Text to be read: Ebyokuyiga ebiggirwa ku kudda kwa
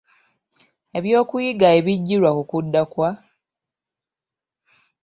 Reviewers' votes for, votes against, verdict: 3, 1, accepted